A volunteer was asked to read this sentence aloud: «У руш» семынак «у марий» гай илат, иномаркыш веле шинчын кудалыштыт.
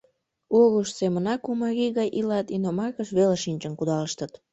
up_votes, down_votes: 1, 2